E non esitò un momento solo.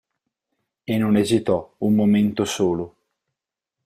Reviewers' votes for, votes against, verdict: 4, 0, accepted